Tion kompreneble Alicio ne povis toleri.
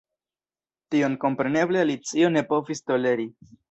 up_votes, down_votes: 1, 2